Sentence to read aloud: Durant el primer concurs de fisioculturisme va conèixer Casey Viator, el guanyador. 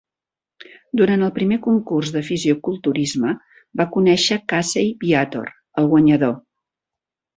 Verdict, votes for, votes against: accepted, 3, 0